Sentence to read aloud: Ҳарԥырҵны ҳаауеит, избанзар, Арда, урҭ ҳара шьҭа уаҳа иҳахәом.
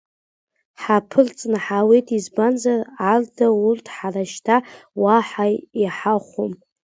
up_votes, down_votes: 2, 0